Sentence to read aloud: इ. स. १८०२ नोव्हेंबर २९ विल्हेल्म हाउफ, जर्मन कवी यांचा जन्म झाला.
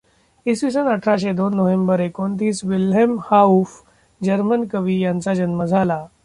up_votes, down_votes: 0, 2